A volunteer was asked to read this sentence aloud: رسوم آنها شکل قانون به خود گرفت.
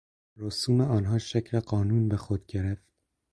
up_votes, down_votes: 4, 0